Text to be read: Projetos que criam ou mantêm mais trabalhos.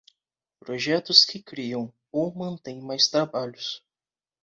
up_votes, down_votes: 2, 0